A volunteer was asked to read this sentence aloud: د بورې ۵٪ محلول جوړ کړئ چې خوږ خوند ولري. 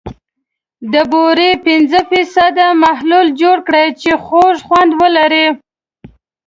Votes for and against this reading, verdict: 0, 2, rejected